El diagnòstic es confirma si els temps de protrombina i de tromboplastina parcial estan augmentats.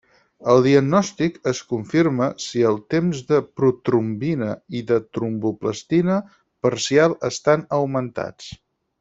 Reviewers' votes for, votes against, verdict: 4, 0, accepted